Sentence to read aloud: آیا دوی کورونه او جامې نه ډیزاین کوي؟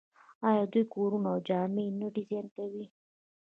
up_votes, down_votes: 0, 2